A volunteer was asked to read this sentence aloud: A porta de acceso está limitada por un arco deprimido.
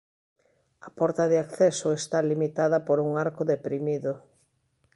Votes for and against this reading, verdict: 2, 0, accepted